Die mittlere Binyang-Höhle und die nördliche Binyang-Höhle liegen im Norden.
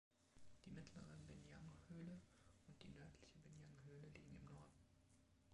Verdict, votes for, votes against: rejected, 1, 2